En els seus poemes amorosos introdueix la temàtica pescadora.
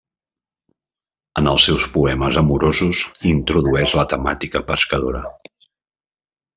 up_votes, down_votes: 3, 0